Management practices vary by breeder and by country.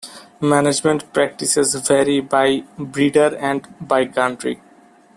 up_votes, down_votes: 2, 0